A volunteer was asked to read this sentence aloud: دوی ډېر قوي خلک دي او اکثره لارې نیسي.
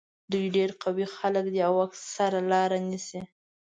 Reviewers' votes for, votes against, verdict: 2, 1, accepted